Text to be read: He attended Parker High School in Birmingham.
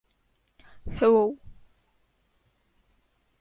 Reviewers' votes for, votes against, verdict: 0, 2, rejected